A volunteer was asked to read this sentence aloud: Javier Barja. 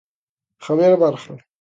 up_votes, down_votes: 2, 0